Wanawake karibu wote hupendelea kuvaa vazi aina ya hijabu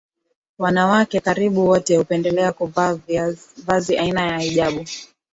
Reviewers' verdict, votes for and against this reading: rejected, 6, 7